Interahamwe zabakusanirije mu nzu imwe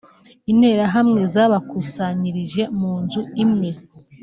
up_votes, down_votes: 2, 0